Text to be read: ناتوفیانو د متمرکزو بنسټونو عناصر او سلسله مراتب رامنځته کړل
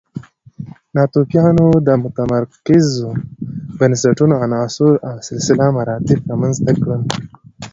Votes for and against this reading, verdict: 1, 2, rejected